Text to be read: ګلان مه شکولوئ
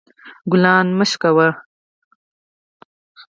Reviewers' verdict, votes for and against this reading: rejected, 0, 4